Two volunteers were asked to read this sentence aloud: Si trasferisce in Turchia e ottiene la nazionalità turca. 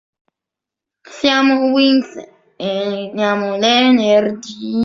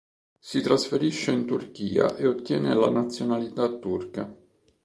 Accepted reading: second